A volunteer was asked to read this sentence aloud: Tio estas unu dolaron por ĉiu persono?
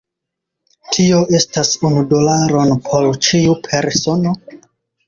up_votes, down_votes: 0, 2